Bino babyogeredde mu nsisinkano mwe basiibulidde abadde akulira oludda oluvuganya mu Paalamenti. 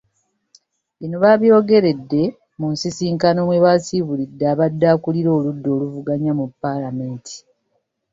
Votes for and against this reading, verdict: 2, 0, accepted